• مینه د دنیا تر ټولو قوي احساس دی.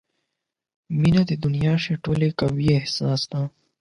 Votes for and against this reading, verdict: 4, 8, rejected